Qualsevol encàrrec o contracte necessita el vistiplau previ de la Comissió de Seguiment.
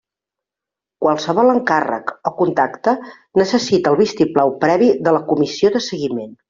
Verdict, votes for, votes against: rejected, 0, 2